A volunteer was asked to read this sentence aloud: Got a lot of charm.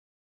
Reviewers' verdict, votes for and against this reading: rejected, 0, 2